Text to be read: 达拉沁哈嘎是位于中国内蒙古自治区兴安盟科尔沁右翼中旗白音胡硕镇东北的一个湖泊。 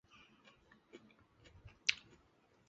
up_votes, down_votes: 0, 2